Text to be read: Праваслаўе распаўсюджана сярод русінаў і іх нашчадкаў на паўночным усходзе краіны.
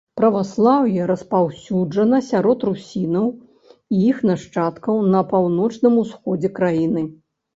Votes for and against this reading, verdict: 2, 0, accepted